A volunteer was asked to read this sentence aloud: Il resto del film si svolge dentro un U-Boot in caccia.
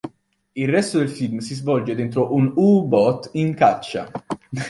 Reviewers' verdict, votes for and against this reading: rejected, 1, 2